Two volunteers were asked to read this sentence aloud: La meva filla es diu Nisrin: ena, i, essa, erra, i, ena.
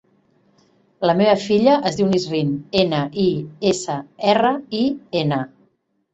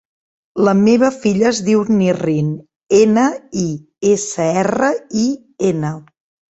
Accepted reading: first